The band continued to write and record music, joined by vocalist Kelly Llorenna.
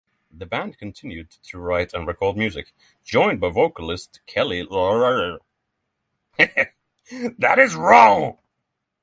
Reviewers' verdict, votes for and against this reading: rejected, 3, 6